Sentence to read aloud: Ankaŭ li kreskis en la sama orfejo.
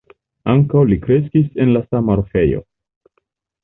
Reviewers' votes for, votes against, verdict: 1, 2, rejected